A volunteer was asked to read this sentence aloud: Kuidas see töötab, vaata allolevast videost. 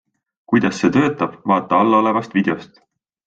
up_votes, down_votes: 7, 0